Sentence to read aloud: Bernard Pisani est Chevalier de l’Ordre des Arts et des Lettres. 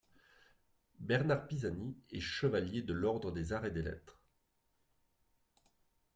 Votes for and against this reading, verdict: 2, 0, accepted